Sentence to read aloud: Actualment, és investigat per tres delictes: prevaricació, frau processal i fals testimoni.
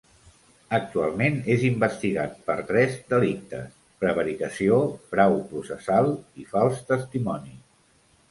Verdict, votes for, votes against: accepted, 2, 0